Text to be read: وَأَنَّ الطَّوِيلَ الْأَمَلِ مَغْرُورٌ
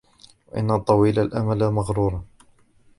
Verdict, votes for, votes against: accepted, 2, 1